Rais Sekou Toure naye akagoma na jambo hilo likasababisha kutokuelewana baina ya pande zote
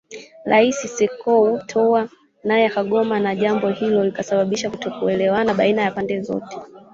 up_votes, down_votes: 0, 3